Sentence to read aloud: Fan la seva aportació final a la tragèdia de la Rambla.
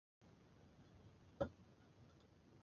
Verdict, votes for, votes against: rejected, 1, 3